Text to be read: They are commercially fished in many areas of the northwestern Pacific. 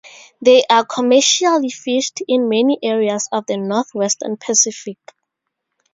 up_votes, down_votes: 0, 2